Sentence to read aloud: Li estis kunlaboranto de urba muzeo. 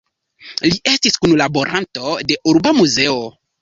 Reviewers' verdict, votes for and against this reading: rejected, 1, 2